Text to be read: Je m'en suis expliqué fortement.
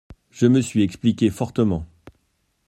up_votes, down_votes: 1, 2